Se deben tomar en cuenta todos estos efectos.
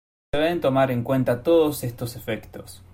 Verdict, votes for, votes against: rejected, 0, 2